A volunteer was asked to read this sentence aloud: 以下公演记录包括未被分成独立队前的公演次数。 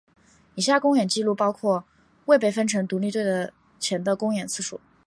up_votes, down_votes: 3, 0